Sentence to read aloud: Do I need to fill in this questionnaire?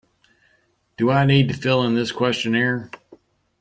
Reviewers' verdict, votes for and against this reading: accepted, 2, 0